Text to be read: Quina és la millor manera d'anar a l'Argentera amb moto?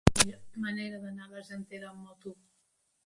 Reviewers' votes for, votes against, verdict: 0, 2, rejected